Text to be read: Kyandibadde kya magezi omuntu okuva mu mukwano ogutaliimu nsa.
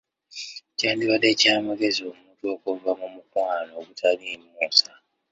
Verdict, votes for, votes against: rejected, 0, 2